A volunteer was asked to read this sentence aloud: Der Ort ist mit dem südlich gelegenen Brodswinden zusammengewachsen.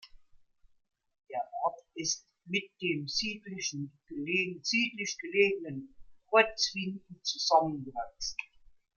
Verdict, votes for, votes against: rejected, 0, 2